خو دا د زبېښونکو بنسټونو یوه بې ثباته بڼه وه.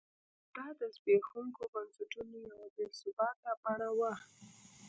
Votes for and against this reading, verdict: 0, 2, rejected